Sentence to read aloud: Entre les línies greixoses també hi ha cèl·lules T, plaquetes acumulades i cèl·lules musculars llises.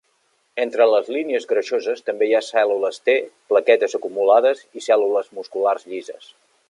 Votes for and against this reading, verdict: 3, 0, accepted